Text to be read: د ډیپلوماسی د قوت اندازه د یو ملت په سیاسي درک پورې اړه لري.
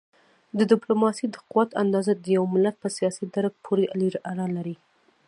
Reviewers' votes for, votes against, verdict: 2, 1, accepted